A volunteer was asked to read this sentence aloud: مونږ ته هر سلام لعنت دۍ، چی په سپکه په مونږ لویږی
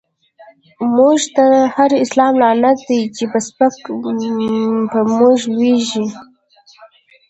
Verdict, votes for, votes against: rejected, 0, 2